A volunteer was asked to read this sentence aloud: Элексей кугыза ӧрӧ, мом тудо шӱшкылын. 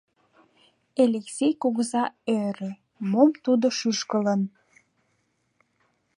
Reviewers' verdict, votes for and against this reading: accepted, 2, 0